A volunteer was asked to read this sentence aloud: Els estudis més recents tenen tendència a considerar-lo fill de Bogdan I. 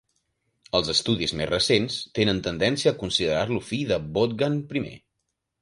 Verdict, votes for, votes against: accepted, 2, 0